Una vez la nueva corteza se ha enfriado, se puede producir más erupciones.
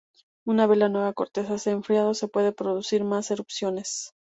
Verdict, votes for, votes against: accepted, 2, 0